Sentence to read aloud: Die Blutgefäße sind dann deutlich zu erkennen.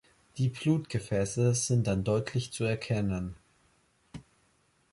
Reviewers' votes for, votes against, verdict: 2, 0, accepted